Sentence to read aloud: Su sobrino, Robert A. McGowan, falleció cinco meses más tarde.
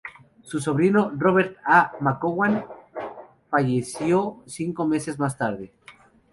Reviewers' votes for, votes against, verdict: 0, 2, rejected